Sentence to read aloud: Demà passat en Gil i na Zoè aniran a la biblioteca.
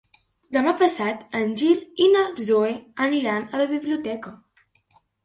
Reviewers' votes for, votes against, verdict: 2, 0, accepted